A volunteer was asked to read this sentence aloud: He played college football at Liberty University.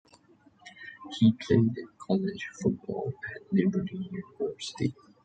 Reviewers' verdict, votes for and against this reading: accepted, 2, 1